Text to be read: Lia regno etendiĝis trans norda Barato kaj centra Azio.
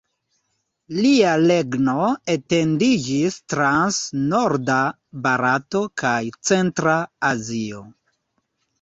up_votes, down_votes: 1, 2